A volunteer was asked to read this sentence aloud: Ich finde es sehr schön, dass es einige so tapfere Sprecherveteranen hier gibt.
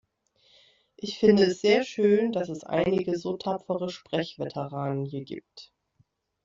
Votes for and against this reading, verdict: 2, 0, accepted